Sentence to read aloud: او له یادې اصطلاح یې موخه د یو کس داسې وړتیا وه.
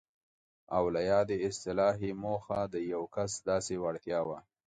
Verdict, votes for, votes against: accepted, 2, 0